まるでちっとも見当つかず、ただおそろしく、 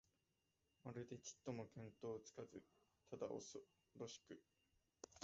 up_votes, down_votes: 0, 2